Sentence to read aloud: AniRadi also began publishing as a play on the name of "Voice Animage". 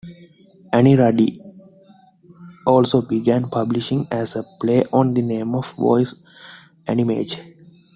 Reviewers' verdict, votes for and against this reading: accepted, 2, 0